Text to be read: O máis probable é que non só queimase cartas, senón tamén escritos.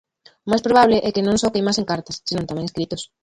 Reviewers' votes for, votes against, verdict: 0, 2, rejected